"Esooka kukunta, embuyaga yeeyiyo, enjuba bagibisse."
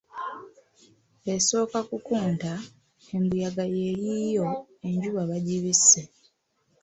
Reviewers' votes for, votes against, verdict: 0, 2, rejected